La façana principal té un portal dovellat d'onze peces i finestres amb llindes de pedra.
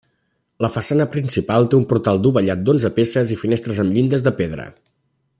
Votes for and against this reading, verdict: 2, 0, accepted